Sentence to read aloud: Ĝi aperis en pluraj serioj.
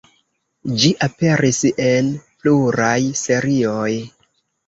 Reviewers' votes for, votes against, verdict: 1, 2, rejected